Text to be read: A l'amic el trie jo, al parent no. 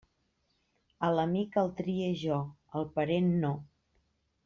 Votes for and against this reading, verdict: 2, 1, accepted